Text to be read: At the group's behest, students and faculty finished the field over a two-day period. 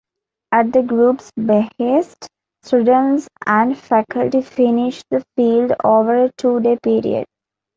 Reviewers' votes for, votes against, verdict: 2, 0, accepted